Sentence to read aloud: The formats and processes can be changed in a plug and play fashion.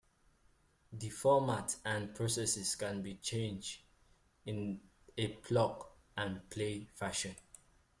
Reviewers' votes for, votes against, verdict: 2, 0, accepted